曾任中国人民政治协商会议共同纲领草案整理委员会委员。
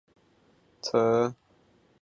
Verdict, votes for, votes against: rejected, 0, 4